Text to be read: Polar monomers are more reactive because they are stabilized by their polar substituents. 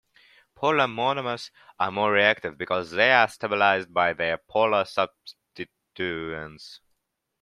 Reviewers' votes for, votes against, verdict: 0, 2, rejected